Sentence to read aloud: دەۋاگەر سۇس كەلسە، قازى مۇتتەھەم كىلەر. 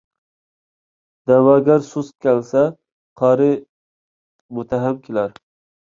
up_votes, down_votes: 0, 2